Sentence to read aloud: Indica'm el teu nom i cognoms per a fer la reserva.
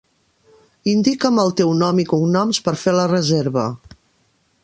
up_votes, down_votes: 0, 2